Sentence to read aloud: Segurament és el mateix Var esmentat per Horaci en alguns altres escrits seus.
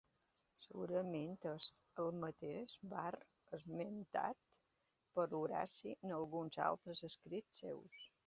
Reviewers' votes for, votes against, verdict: 0, 2, rejected